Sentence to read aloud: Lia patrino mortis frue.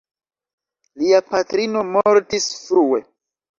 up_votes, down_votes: 2, 0